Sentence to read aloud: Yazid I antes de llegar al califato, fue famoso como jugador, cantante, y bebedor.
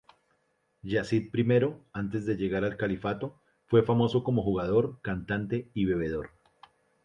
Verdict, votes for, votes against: accepted, 2, 0